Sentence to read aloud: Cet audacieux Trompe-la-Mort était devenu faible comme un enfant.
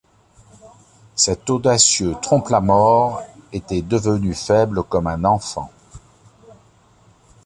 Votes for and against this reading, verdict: 2, 1, accepted